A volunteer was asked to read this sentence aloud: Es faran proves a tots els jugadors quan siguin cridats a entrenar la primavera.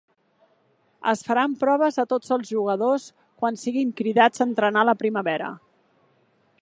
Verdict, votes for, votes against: accepted, 2, 0